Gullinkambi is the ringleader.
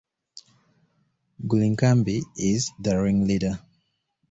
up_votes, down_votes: 2, 0